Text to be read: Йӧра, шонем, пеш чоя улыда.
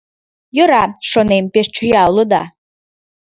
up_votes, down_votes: 2, 0